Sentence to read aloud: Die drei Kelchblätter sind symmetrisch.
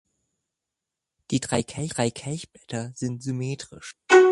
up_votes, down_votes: 0, 2